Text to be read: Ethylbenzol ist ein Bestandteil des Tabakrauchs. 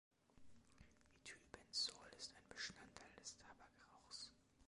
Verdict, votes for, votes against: rejected, 1, 2